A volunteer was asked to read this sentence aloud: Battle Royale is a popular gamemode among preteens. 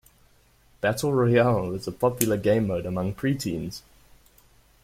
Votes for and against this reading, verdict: 2, 0, accepted